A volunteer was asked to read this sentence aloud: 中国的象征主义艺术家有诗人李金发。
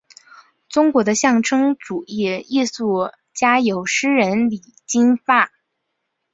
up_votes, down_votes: 3, 0